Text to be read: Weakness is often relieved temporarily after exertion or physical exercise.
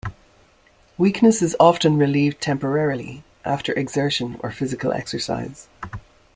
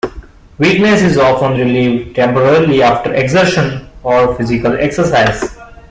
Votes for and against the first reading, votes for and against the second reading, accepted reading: 2, 1, 1, 2, first